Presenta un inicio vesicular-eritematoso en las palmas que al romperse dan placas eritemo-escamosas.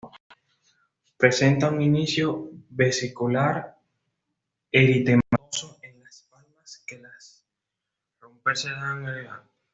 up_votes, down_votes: 1, 2